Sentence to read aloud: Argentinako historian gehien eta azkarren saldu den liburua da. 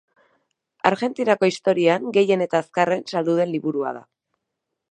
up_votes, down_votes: 0, 2